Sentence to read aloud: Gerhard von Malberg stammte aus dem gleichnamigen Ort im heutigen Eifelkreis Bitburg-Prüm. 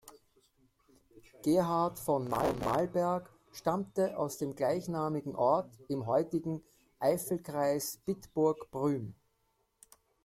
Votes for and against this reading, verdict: 1, 2, rejected